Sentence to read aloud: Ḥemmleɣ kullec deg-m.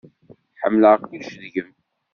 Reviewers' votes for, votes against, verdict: 2, 0, accepted